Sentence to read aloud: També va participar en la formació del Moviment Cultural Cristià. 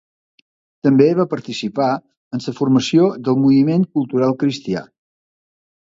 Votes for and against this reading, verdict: 0, 2, rejected